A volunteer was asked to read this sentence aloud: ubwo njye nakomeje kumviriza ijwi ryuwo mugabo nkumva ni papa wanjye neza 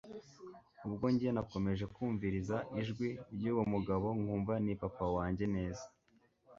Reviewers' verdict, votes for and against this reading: accepted, 2, 0